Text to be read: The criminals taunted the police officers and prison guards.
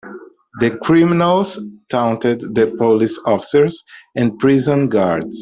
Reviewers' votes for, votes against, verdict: 1, 2, rejected